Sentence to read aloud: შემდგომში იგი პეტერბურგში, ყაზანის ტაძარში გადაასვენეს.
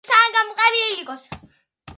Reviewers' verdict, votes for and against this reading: rejected, 0, 2